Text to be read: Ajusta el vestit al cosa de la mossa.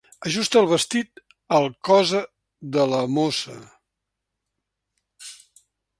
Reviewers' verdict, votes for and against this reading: accepted, 4, 0